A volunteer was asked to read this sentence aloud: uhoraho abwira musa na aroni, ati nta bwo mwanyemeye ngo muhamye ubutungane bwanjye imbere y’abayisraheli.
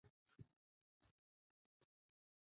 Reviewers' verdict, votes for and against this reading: rejected, 0, 2